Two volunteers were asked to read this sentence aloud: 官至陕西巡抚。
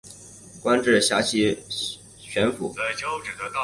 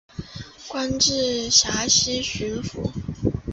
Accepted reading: second